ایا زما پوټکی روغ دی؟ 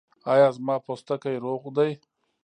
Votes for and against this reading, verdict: 2, 0, accepted